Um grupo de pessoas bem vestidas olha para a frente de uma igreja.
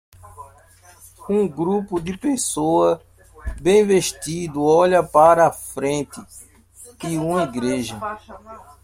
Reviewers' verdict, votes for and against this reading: rejected, 1, 2